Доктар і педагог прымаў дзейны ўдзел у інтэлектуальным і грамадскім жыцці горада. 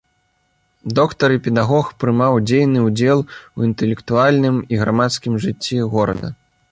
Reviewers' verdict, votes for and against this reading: accepted, 3, 0